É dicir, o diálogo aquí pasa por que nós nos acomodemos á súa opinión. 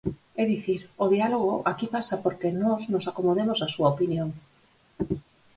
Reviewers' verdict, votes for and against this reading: accepted, 4, 0